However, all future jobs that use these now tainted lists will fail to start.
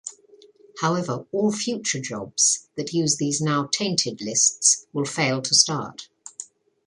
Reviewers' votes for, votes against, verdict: 2, 0, accepted